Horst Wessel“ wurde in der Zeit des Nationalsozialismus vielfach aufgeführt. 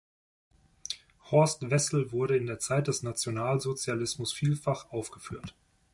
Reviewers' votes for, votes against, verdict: 2, 0, accepted